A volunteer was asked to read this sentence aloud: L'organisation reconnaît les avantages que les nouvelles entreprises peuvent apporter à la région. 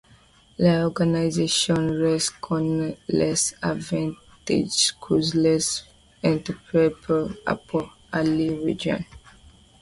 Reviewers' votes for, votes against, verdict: 0, 2, rejected